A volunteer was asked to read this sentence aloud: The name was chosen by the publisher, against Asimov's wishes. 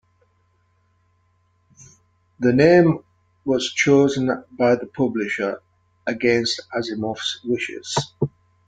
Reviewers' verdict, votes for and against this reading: accepted, 2, 0